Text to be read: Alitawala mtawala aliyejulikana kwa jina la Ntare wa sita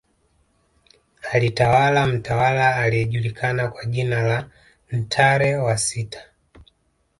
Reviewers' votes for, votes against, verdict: 5, 0, accepted